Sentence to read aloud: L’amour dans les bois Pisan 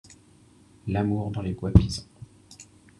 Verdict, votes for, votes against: rejected, 1, 2